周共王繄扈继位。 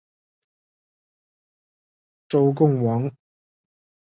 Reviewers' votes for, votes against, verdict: 2, 3, rejected